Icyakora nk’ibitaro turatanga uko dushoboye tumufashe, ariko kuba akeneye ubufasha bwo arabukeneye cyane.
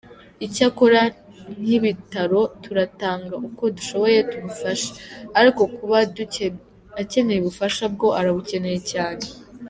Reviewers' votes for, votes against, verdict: 1, 2, rejected